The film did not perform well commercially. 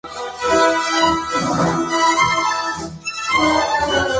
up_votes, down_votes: 0, 4